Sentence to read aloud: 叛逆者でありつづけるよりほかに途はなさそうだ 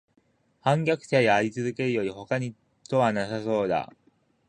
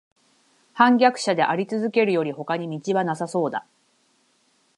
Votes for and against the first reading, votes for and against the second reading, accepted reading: 3, 4, 6, 0, second